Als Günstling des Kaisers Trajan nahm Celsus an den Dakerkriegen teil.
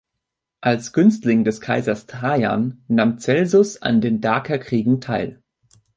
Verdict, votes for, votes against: rejected, 0, 2